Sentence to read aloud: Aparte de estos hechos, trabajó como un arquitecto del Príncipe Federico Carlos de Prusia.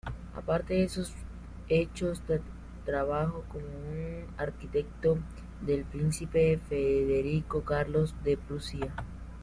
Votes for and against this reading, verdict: 0, 2, rejected